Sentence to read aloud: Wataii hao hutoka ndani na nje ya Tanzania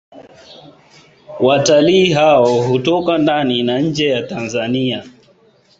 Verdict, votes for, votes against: accepted, 2, 0